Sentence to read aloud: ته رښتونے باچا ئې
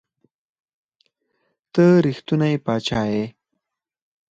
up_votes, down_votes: 4, 0